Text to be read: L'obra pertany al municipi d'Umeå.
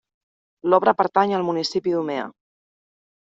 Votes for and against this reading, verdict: 1, 2, rejected